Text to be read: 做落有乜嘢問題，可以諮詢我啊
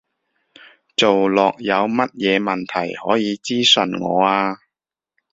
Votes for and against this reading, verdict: 2, 1, accepted